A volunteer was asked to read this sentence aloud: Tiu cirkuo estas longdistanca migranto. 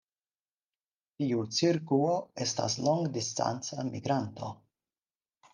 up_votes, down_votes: 4, 0